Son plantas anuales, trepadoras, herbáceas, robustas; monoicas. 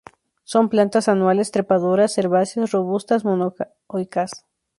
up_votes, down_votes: 0, 2